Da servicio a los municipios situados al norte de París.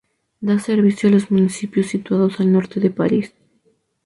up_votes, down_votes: 2, 0